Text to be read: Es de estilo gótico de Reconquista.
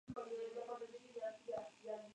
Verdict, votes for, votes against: rejected, 0, 2